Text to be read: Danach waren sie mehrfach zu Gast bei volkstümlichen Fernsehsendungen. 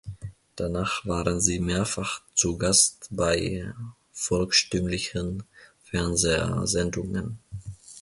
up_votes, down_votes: 0, 2